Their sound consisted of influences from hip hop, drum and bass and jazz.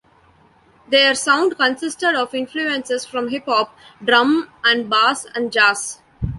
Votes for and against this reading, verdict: 1, 2, rejected